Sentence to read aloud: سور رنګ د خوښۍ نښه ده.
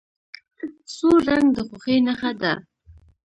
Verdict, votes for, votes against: accepted, 2, 0